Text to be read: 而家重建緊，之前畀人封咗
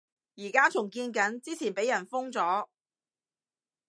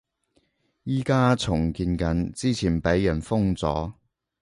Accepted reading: first